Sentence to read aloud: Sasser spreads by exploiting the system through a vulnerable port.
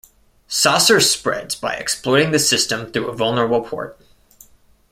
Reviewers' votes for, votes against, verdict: 2, 0, accepted